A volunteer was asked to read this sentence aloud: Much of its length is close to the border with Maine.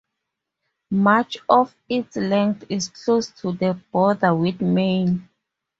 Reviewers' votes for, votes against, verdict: 4, 0, accepted